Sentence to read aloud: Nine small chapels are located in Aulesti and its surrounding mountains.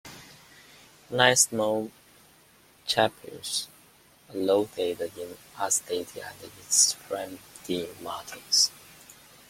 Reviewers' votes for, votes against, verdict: 3, 0, accepted